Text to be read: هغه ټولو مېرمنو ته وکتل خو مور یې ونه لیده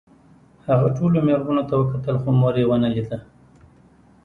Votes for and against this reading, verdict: 2, 0, accepted